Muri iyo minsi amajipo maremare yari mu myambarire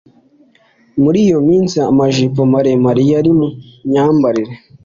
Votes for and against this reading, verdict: 2, 0, accepted